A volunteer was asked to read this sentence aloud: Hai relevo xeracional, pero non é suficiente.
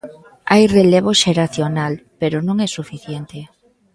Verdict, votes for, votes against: accepted, 2, 0